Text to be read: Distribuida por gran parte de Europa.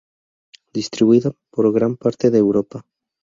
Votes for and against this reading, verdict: 2, 0, accepted